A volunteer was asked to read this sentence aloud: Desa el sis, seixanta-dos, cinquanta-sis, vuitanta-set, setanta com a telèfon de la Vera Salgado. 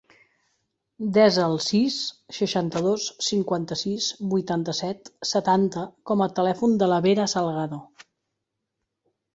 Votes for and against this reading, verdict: 2, 0, accepted